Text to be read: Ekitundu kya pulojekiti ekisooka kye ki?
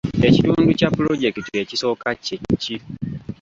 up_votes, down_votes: 2, 0